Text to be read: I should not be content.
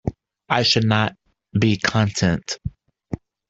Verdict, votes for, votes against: rejected, 1, 2